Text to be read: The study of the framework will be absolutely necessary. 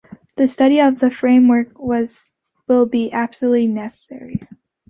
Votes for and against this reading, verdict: 0, 2, rejected